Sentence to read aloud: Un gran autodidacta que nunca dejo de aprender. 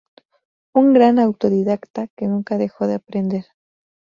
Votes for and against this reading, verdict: 2, 0, accepted